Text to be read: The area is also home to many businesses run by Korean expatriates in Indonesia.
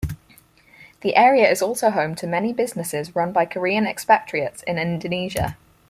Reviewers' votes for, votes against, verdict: 4, 0, accepted